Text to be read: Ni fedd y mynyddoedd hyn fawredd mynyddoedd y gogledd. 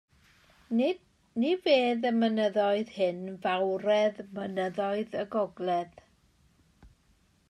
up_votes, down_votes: 1, 2